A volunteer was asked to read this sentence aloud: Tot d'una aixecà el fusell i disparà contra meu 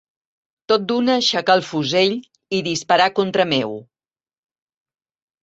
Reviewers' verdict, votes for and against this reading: accepted, 2, 0